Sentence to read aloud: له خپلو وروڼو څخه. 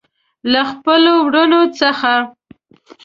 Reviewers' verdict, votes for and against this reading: accepted, 2, 0